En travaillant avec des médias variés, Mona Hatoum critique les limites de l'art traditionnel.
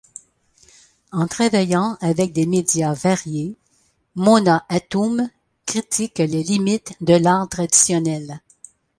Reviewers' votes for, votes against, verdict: 0, 2, rejected